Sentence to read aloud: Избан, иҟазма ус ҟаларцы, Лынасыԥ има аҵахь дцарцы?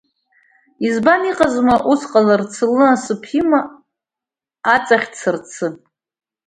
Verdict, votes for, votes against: rejected, 1, 2